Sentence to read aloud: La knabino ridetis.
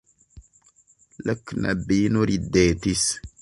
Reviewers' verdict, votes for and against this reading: accepted, 2, 0